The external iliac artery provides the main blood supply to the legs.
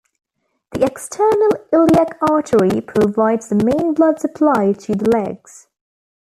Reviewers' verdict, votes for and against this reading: accepted, 2, 1